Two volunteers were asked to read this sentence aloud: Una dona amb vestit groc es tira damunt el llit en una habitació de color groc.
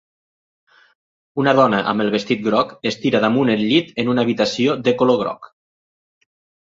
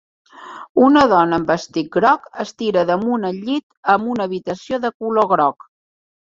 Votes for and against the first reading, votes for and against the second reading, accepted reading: 1, 2, 2, 0, second